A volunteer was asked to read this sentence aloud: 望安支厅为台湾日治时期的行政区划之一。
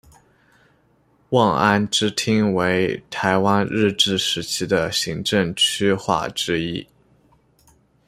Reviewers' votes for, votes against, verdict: 2, 0, accepted